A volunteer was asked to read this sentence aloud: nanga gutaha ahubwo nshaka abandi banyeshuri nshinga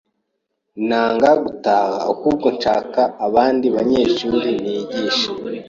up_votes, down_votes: 1, 2